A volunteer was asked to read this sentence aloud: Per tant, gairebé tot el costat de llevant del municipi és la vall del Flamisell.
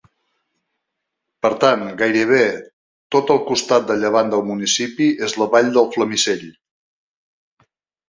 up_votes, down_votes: 2, 0